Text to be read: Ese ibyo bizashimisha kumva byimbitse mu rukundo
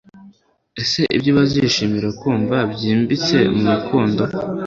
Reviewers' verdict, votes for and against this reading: rejected, 0, 2